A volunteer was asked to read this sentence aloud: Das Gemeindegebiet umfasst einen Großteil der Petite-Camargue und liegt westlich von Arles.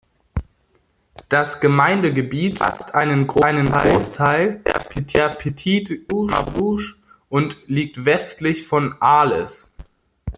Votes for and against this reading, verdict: 0, 2, rejected